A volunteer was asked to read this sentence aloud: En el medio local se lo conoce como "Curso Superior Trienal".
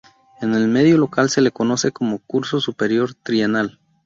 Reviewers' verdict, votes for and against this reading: accepted, 2, 0